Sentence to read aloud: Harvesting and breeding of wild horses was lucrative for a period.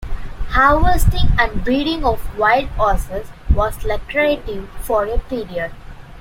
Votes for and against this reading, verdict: 0, 2, rejected